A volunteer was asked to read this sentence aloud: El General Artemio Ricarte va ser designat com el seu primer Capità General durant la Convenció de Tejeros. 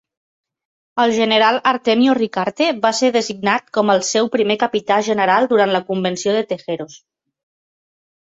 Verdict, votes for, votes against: accepted, 4, 0